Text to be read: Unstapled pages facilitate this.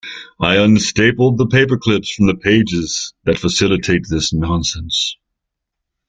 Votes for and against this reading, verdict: 0, 2, rejected